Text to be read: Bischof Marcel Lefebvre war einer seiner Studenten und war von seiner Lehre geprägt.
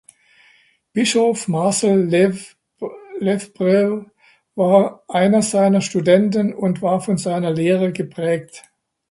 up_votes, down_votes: 0, 2